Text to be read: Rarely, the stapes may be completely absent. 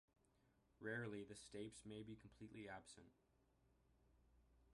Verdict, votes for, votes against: accepted, 2, 0